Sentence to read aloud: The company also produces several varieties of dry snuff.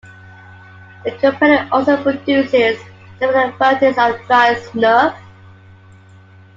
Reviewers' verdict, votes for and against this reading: rejected, 0, 2